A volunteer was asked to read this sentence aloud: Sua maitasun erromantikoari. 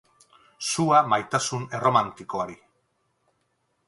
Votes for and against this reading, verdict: 6, 0, accepted